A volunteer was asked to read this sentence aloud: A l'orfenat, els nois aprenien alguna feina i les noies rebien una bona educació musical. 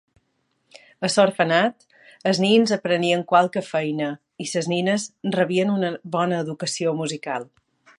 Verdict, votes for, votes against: rejected, 0, 2